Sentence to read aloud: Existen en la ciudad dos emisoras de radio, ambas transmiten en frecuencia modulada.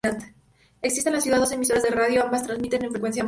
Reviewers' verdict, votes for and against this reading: rejected, 0, 2